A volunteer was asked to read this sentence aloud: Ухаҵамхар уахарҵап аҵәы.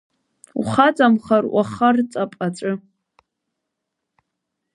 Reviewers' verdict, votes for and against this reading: rejected, 1, 3